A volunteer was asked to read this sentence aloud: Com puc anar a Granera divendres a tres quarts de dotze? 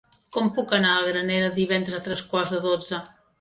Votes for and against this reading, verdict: 1, 2, rejected